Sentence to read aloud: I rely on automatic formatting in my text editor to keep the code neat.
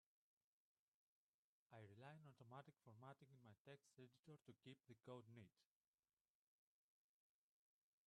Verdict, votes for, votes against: rejected, 1, 2